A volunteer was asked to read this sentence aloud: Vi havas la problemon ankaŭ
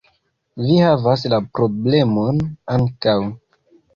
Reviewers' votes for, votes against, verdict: 1, 2, rejected